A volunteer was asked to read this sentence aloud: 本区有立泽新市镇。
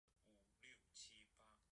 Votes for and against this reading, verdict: 1, 2, rejected